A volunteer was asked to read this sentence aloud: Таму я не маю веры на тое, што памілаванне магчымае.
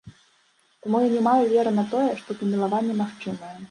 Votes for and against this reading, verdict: 2, 0, accepted